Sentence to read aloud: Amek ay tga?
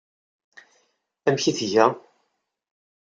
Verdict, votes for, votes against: accepted, 2, 0